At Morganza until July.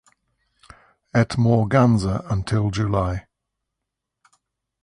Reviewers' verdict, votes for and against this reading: accepted, 8, 0